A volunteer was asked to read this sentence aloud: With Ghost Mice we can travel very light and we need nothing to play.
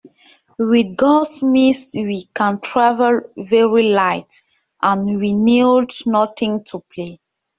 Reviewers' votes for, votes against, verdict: 0, 2, rejected